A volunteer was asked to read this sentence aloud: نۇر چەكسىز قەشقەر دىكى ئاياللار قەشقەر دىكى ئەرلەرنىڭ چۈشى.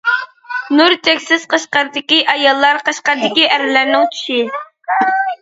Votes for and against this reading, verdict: 2, 0, accepted